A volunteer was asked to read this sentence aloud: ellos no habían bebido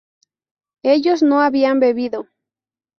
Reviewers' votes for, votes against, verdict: 2, 0, accepted